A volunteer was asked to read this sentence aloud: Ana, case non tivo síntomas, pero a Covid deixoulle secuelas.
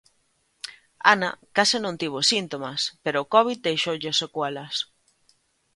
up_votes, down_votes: 1, 2